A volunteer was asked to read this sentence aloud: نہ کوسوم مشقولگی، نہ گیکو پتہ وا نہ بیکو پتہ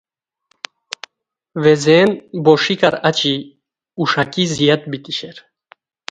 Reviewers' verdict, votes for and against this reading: rejected, 0, 2